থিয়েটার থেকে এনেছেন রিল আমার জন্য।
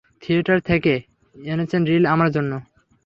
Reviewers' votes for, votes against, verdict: 3, 0, accepted